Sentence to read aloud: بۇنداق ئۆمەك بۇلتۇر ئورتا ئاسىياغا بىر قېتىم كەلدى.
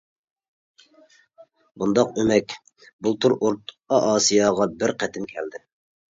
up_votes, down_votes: 0, 2